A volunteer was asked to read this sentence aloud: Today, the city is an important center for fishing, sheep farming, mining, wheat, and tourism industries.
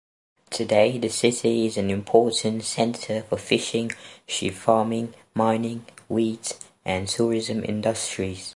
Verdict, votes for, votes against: accepted, 2, 0